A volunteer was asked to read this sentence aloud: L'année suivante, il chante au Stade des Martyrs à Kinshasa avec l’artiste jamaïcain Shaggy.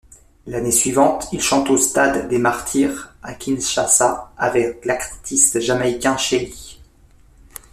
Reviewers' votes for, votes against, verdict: 1, 2, rejected